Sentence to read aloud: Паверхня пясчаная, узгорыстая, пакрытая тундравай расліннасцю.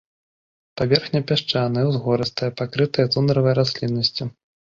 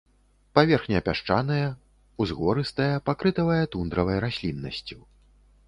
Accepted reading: first